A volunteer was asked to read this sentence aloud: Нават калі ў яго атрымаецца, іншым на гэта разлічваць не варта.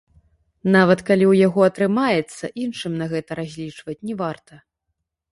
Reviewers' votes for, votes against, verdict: 0, 2, rejected